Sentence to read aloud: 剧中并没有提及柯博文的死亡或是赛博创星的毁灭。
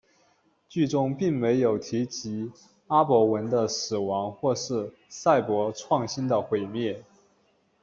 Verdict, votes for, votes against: rejected, 0, 2